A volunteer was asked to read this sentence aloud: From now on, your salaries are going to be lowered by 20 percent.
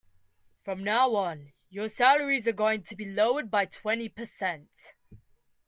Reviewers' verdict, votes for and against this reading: rejected, 0, 2